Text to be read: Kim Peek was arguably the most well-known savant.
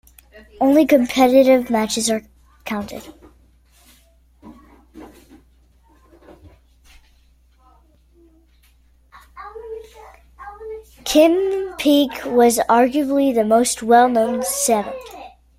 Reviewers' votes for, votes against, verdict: 0, 3, rejected